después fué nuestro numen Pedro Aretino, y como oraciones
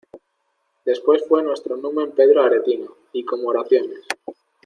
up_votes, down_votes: 2, 0